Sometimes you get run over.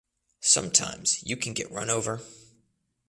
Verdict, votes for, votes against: rejected, 0, 2